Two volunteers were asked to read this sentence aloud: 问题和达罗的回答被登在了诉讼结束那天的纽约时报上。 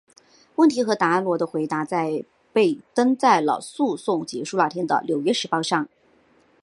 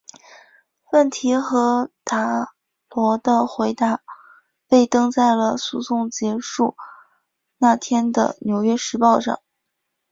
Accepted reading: second